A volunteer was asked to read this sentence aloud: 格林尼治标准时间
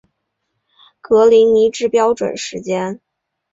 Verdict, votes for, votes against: accepted, 5, 0